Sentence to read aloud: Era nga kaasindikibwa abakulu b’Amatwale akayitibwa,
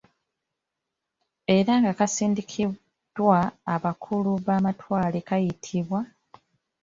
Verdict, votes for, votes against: rejected, 0, 2